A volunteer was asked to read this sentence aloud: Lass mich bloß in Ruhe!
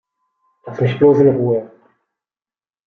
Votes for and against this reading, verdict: 1, 2, rejected